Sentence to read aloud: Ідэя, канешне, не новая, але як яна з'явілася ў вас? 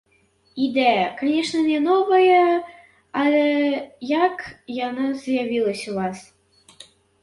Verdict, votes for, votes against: rejected, 0, 2